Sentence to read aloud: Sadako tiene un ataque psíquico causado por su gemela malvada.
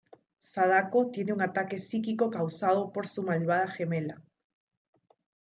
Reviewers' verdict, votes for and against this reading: rejected, 0, 2